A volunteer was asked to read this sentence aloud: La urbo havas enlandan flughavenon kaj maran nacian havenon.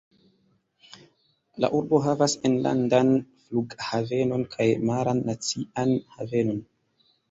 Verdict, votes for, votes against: accepted, 2, 1